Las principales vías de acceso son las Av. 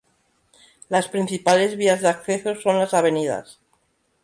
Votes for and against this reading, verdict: 2, 0, accepted